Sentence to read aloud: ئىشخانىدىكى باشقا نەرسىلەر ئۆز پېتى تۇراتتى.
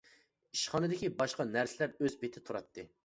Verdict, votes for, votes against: accepted, 2, 0